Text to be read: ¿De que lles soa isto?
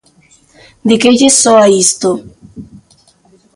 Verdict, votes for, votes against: accepted, 2, 0